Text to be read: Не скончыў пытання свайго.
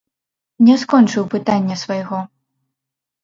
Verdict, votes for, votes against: rejected, 0, 2